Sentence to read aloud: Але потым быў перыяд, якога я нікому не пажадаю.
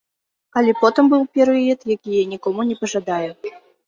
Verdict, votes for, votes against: rejected, 0, 3